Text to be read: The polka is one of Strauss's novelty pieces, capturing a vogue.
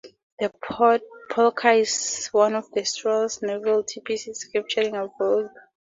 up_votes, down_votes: 0, 2